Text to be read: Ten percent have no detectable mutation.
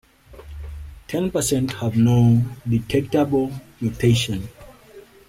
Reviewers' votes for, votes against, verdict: 2, 0, accepted